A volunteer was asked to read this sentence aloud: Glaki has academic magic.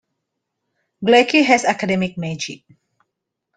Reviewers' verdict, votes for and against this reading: accepted, 2, 0